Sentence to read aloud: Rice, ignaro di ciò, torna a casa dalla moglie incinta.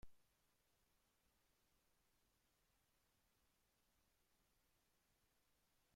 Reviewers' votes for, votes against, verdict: 0, 2, rejected